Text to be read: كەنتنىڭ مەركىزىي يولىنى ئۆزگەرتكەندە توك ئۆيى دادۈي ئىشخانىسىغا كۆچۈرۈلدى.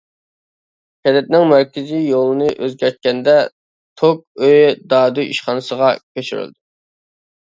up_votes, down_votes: 0, 2